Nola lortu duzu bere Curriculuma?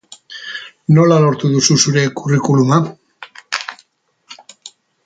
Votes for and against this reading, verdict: 0, 2, rejected